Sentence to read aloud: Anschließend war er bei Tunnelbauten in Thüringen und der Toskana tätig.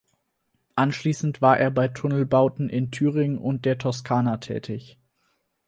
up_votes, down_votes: 4, 0